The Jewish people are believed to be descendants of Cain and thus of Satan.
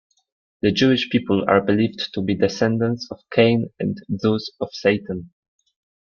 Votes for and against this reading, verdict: 2, 0, accepted